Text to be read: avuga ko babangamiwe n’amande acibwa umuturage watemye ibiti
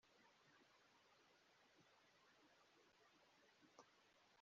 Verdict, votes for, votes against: rejected, 0, 2